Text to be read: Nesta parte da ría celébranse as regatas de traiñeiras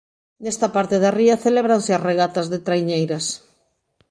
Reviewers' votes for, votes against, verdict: 2, 0, accepted